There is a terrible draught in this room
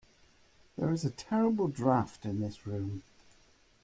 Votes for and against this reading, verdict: 1, 2, rejected